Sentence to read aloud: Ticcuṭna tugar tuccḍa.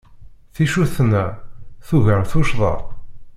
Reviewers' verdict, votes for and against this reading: rejected, 0, 2